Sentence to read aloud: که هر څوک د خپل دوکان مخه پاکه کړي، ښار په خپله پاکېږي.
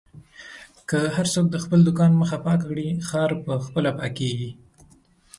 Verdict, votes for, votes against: accepted, 2, 1